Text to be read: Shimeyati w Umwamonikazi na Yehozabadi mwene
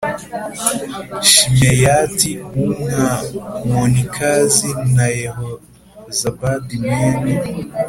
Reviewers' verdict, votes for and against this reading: accepted, 2, 0